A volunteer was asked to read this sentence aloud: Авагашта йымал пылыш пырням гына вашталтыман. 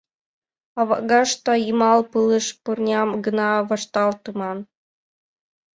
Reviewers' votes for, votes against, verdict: 2, 0, accepted